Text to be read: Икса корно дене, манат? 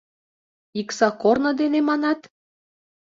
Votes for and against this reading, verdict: 3, 0, accepted